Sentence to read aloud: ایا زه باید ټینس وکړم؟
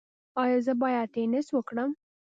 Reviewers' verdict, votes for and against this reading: accepted, 2, 0